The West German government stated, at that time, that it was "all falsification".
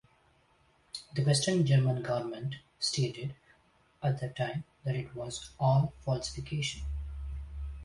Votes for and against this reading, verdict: 0, 2, rejected